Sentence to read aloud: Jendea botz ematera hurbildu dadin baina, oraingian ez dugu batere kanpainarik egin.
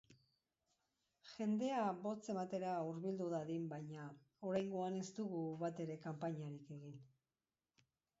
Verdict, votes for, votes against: rejected, 0, 2